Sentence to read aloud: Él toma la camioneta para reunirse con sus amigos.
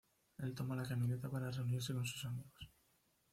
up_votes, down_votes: 0, 2